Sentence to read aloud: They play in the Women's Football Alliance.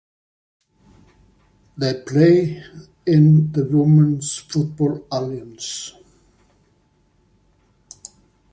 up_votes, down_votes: 2, 1